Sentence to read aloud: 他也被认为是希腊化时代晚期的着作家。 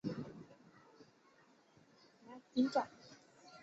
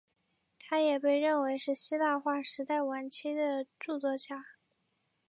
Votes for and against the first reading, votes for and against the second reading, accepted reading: 0, 2, 3, 0, second